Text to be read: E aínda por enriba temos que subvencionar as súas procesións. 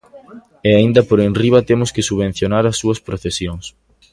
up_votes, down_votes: 2, 0